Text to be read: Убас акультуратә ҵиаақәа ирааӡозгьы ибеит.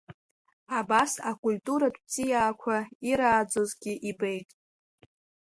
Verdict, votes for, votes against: rejected, 1, 2